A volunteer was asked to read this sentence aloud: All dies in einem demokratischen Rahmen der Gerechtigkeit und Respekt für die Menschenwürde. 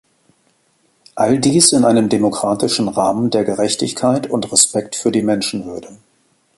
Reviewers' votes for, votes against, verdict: 2, 0, accepted